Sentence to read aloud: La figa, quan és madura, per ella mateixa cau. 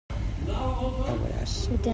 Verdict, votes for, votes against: rejected, 0, 2